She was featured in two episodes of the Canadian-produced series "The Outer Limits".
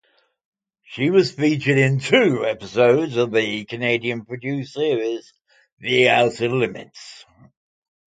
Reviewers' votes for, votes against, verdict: 2, 0, accepted